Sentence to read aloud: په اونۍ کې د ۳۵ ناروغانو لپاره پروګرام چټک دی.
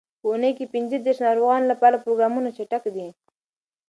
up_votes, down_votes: 0, 2